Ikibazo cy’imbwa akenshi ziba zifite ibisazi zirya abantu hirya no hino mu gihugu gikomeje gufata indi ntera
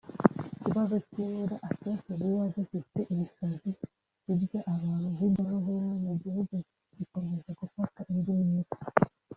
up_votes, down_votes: 1, 2